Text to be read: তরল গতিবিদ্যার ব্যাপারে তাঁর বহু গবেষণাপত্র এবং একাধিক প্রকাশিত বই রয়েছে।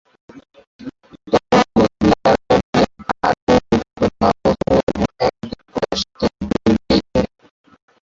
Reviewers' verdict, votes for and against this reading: rejected, 0, 2